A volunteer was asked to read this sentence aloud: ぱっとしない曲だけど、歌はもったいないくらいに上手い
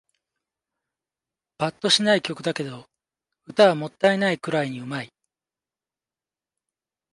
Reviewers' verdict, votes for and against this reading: accepted, 2, 0